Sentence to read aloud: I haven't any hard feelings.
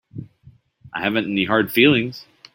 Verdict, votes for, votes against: accepted, 2, 0